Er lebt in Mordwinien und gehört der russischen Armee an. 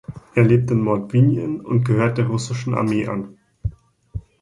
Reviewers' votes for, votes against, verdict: 2, 0, accepted